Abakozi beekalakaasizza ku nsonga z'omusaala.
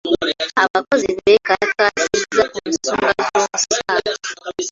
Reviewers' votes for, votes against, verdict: 1, 2, rejected